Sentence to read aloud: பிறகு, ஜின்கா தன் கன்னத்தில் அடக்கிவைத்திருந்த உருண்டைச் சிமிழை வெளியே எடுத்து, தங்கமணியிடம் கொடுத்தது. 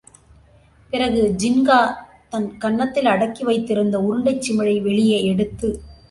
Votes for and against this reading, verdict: 1, 2, rejected